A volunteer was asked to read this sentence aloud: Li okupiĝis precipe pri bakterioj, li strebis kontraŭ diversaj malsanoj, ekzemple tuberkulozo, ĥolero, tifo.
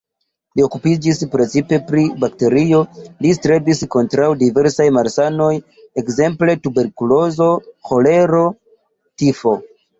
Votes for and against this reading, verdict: 0, 2, rejected